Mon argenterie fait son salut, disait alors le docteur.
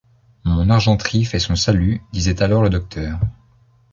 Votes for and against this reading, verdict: 2, 0, accepted